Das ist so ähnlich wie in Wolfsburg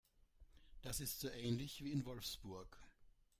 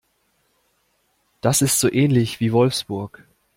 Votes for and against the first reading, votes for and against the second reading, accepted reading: 2, 0, 0, 2, first